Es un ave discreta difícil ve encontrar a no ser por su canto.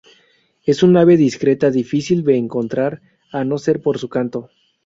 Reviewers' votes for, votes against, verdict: 2, 2, rejected